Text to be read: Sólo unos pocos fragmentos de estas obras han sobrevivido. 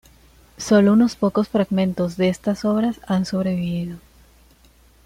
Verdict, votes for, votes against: accepted, 2, 1